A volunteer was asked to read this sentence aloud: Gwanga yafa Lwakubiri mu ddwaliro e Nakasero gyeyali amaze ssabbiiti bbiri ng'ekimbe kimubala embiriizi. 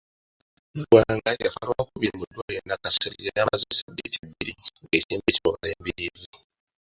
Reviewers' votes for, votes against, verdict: 0, 2, rejected